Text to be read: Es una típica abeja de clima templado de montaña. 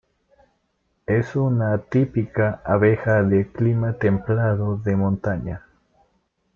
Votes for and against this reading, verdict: 2, 1, accepted